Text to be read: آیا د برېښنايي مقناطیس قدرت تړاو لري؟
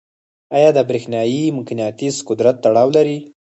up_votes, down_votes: 2, 4